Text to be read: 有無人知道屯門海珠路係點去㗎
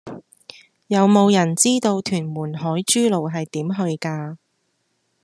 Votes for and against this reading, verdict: 2, 0, accepted